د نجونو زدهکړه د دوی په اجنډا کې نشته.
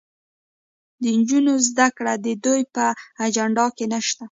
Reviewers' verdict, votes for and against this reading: accepted, 2, 0